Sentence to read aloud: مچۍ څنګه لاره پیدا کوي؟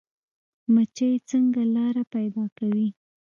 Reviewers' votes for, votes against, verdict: 1, 2, rejected